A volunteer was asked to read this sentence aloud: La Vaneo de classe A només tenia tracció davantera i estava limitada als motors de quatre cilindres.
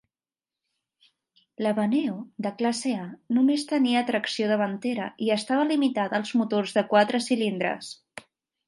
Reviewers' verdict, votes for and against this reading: accepted, 2, 0